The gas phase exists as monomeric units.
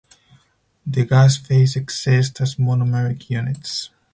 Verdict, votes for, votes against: rejected, 2, 4